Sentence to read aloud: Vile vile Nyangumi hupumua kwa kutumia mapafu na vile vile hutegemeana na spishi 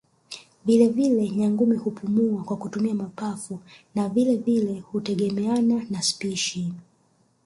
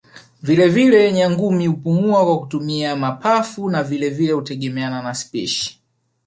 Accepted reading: second